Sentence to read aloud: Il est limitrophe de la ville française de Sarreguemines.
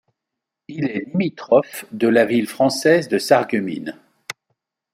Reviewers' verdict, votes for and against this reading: accepted, 2, 1